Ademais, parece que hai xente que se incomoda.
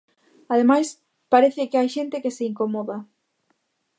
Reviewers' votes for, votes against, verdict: 2, 0, accepted